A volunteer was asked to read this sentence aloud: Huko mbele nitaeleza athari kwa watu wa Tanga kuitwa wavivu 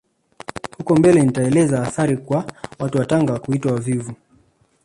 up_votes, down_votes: 0, 2